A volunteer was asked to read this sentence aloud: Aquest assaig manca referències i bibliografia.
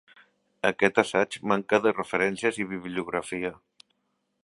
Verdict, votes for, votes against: rejected, 0, 2